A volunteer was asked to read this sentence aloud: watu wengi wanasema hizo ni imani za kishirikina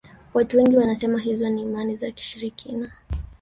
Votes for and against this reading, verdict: 1, 2, rejected